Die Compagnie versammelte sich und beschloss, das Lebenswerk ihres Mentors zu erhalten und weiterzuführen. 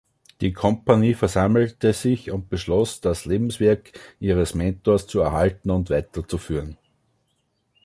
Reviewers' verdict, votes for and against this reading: accepted, 2, 0